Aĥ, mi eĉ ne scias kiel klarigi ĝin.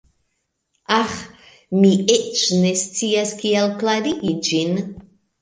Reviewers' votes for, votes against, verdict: 2, 1, accepted